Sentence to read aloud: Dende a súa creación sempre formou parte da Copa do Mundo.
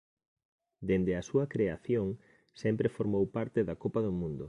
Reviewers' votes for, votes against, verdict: 2, 0, accepted